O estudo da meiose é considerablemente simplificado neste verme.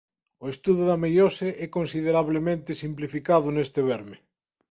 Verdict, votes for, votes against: accepted, 2, 0